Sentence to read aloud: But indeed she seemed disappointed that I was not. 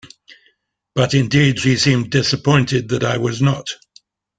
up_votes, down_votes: 2, 0